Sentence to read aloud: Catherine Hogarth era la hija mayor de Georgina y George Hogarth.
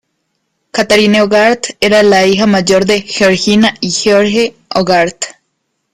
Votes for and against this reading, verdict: 1, 2, rejected